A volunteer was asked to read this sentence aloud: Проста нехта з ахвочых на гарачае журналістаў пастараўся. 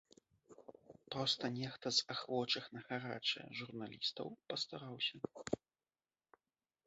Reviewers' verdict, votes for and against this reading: rejected, 1, 3